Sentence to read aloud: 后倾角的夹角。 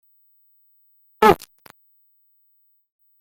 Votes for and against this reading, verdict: 0, 2, rejected